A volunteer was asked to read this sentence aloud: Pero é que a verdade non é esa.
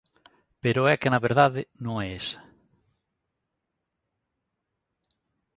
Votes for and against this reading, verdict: 0, 2, rejected